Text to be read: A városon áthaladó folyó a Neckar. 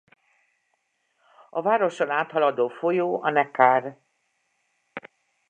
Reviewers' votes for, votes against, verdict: 2, 0, accepted